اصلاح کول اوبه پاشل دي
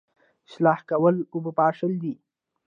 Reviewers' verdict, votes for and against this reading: accepted, 2, 1